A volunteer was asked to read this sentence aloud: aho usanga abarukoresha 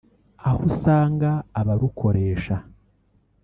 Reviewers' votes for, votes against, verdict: 0, 2, rejected